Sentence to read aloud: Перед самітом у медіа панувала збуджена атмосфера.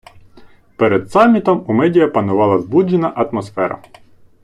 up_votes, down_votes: 2, 0